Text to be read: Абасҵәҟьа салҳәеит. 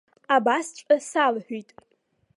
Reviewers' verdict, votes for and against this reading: rejected, 1, 2